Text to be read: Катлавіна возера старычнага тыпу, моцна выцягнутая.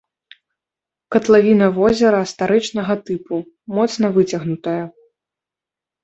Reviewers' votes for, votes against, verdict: 2, 0, accepted